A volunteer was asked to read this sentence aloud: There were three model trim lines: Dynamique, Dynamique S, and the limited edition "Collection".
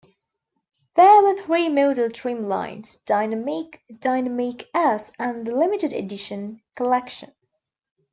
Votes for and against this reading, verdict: 1, 2, rejected